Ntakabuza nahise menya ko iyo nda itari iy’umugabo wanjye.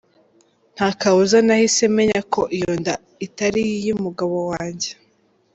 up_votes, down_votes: 2, 0